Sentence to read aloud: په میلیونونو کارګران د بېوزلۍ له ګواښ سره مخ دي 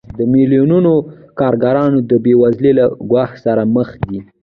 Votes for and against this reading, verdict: 1, 2, rejected